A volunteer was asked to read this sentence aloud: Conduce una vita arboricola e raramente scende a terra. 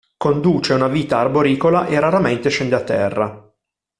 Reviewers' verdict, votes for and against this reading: accepted, 2, 0